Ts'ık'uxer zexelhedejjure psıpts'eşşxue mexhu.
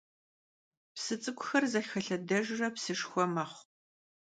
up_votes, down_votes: 0, 2